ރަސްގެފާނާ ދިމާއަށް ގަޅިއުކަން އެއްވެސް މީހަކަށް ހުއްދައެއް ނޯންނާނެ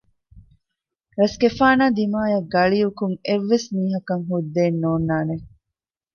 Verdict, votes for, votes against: accepted, 2, 0